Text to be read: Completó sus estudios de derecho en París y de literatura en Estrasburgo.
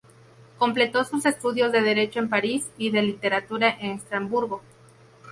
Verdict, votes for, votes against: rejected, 2, 2